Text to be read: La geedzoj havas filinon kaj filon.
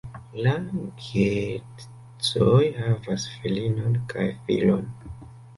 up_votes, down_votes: 0, 2